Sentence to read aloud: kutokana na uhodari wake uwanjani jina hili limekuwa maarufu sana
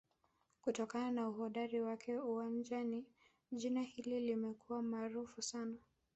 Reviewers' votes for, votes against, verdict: 4, 6, rejected